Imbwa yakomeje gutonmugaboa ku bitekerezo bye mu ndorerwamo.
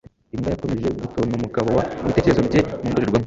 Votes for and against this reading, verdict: 2, 1, accepted